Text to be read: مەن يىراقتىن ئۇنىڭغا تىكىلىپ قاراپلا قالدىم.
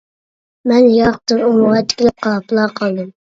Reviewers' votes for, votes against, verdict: 0, 2, rejected